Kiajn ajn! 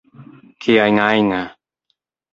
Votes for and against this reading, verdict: 0, 2, rejected